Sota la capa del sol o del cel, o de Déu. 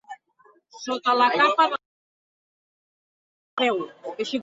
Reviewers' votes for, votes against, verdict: 0, 2, rejected